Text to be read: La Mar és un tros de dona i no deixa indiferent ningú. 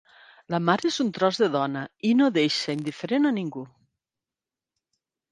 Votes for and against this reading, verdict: 1, 2, rejected